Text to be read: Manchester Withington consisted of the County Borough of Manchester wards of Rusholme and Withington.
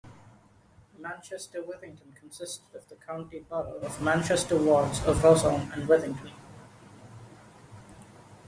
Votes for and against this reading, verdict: 1, 2, rejected